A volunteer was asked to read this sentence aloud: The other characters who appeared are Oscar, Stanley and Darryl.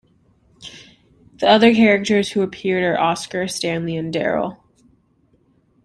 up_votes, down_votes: 2, 0